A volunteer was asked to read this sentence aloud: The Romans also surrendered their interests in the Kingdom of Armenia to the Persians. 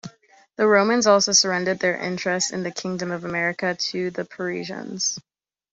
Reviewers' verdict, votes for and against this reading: rejected, 0, 2